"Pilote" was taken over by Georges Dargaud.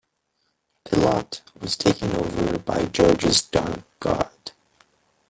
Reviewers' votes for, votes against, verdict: 0, 2, rejected